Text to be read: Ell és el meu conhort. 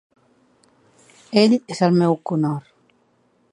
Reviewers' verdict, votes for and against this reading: accepted, 2, 0